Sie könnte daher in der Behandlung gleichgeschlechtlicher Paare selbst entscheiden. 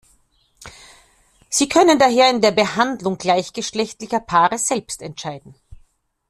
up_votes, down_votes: 1, 2